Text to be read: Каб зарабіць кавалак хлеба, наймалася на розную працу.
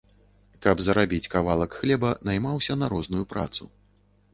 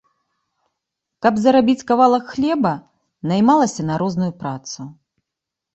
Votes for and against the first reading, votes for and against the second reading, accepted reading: 1, 2, 2, 0, second